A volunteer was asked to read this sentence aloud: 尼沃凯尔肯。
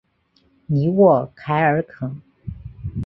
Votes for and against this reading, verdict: 2, 0, accepted